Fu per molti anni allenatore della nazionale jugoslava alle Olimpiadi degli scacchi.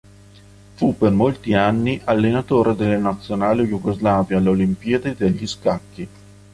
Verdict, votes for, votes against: accepted, 3, 0